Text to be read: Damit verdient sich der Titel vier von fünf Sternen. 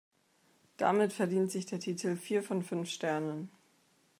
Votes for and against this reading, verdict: 2, 0, accepted